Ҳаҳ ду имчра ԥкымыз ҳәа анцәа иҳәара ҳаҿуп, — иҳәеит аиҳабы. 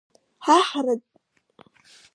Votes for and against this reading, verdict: 0, 2, rejected